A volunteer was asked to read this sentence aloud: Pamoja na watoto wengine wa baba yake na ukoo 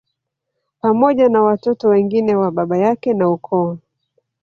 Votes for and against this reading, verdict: 1, 2, rejected